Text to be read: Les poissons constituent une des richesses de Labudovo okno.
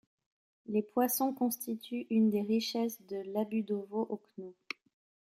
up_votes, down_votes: 0, 2